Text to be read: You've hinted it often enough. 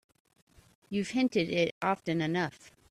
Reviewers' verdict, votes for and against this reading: accepted, 2, 0